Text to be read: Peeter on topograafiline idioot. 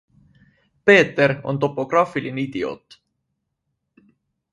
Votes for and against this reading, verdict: 2, 0, accepted